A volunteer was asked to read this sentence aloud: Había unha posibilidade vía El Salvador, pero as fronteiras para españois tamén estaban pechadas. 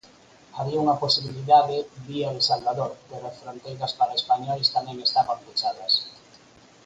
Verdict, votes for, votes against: rejected, 2, 4